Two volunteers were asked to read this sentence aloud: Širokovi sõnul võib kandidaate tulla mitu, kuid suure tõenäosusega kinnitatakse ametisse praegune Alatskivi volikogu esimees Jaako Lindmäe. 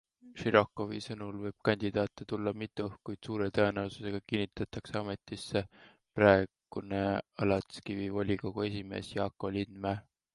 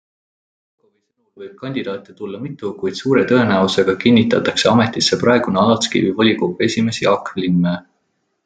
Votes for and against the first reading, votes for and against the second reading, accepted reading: 2, 0, 0, 2, first